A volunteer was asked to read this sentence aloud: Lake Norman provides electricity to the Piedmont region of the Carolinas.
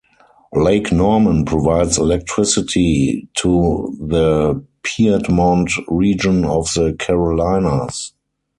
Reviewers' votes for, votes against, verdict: 0, 4, rejected